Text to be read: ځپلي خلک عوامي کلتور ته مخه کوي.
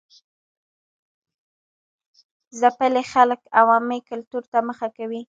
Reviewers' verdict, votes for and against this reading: rejected, 1, 2